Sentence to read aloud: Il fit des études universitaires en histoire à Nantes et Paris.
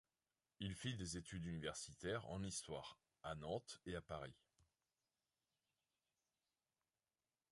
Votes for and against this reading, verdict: 0, 2, rejected